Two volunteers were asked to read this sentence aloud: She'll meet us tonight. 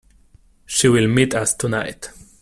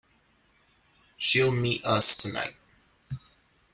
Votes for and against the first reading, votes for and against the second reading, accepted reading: 0, 2, 2, 0, second